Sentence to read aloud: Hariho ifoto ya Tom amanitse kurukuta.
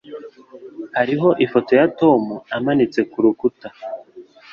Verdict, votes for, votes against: accepted, 3, 0